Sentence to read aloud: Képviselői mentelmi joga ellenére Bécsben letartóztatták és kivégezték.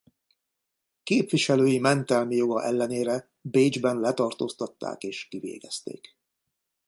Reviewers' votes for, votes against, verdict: 2, 0, accepted